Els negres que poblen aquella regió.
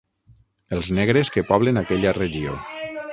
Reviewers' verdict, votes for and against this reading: rejected, 0, 6